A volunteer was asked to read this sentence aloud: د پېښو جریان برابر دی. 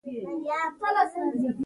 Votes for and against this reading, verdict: 1, 2, rejected